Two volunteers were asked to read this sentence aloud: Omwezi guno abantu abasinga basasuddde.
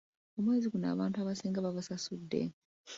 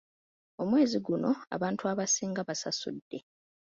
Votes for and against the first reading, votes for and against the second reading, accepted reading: 1, 2, 2, 0, second